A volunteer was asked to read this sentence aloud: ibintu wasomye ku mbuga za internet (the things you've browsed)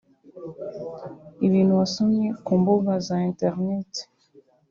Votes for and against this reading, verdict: 0, 2, rejected